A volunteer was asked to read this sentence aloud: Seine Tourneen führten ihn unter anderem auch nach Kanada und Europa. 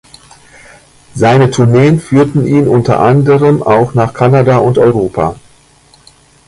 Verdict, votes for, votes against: accepted, 2, 0